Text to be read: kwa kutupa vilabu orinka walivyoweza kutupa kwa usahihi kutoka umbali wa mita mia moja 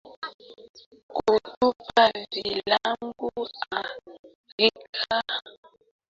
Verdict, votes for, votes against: rejected, 0, 3